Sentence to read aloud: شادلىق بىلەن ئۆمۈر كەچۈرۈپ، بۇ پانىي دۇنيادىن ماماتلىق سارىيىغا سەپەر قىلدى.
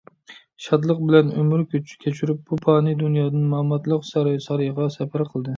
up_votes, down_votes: 0, 2